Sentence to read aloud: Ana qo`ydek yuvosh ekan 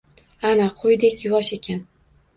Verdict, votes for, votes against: rejected, 1, 2